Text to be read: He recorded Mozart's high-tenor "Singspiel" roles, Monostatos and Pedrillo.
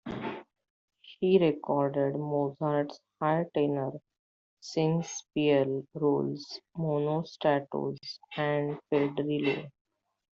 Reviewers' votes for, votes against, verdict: 0, 2, rejected